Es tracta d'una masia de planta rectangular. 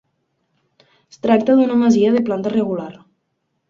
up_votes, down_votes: 0, 3